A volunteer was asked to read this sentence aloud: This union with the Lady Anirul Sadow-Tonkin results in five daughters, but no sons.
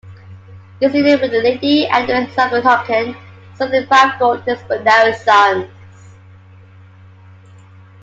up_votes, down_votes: 0, 2